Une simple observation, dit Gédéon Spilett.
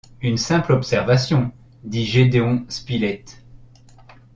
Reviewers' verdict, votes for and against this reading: accepted, 2, 0